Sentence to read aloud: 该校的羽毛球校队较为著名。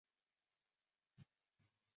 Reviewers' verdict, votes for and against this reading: rejected, 1, 3